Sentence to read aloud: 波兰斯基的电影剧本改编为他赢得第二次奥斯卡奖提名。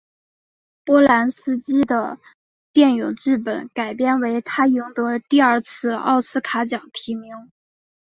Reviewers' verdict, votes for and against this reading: rejected, 2, 2